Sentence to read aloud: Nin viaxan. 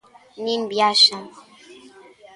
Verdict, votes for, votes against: accepted, 2, 0